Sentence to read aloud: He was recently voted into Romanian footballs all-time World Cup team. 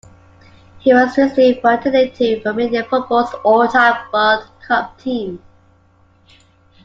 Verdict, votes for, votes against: accepted, 2, 0